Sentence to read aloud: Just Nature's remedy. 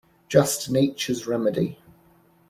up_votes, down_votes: 2, 0